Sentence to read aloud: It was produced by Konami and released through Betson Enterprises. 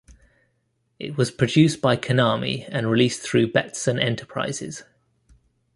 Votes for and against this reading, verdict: 2, 0, accepted